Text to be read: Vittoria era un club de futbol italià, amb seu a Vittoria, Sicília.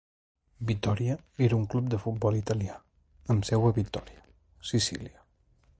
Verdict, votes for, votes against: accepted, 2, 0